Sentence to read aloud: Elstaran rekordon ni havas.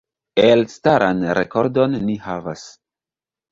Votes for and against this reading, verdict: 1, 2, rejected